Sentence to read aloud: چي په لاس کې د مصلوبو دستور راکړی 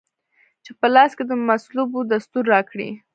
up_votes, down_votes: 1, 2